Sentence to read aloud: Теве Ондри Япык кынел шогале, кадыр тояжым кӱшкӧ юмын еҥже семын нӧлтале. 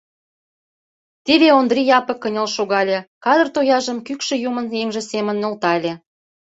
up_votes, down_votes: 0, 2